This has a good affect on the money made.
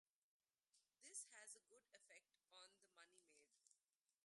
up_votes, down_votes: 1, 2